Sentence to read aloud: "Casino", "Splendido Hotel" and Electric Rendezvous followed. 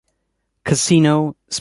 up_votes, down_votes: 0, 2